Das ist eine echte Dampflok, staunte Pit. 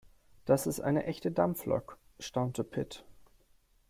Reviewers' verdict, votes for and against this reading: accepted, 4, 0